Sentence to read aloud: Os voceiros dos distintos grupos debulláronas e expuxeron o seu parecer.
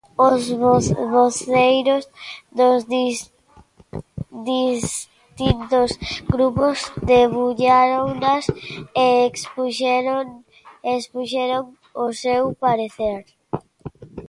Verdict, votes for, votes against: rejected, 0, 2